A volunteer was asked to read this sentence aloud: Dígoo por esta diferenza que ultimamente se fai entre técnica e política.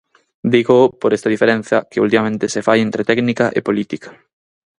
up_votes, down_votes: 4, 0